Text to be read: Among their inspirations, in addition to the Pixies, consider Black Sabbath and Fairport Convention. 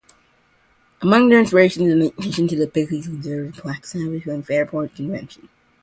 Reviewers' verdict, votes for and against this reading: rejected, 0, 2